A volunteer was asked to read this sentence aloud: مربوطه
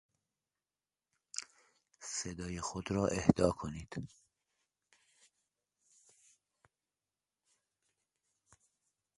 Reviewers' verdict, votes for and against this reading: rejected, 1, 2